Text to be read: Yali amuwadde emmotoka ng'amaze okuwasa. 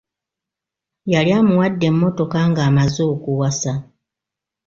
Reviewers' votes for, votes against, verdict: 2, 0, accepted